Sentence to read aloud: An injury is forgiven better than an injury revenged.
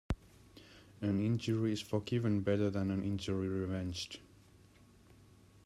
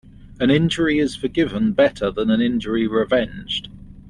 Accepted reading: second